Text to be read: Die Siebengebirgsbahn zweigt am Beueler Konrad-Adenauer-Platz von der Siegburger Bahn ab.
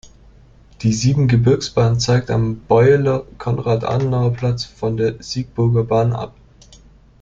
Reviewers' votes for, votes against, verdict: 1, 2, rejected